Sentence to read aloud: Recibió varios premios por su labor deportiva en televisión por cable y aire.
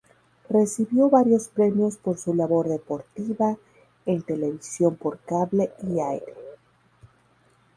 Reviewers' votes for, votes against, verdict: 2, 2, rejected